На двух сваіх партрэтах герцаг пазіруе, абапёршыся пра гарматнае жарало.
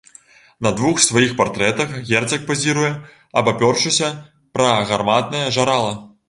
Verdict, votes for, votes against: rejected, 1, 2